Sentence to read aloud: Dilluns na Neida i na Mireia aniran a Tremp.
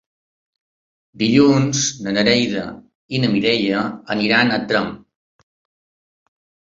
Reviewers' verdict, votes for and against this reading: rejected, 0, 2